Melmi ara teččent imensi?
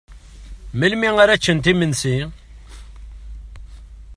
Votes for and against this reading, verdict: 1, 2, rejected